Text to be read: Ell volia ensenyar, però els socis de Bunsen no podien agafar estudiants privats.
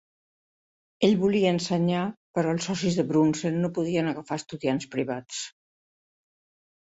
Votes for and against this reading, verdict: 0, 2, rejected